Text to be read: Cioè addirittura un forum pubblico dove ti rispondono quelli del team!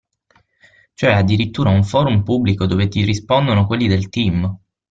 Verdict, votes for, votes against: accepted, 6, 0